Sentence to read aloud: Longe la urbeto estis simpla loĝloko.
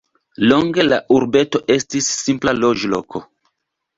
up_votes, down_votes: 2, 0